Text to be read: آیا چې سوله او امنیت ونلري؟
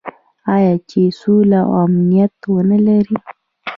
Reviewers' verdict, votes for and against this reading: accepted, 2, 1